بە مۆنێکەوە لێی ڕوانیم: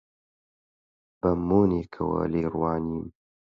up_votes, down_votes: 8, 0